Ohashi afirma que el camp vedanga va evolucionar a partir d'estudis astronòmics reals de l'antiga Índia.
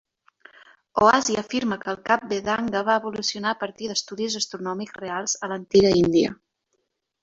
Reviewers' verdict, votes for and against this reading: rejected, 0, 2